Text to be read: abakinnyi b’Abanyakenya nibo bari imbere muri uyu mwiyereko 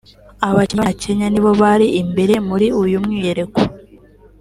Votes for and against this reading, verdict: 1, 2, rejected